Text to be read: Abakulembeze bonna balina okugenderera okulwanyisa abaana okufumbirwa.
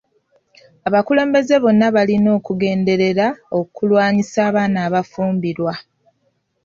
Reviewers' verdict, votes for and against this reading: rejected, 1, 2